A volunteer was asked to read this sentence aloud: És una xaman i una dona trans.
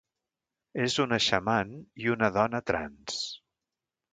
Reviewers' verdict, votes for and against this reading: accepted, 2, 0